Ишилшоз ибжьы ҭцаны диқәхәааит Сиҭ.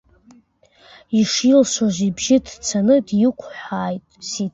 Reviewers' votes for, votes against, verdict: 2, 0, accepted